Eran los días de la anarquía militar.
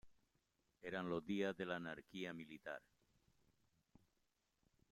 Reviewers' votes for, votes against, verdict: 2, 1, accepted